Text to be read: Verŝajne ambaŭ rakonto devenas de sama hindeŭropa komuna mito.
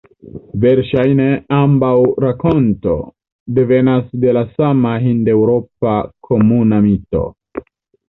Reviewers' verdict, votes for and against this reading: rejected, 1, 2